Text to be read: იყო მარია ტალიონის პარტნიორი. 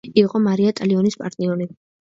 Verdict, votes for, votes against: rejected, 1, 2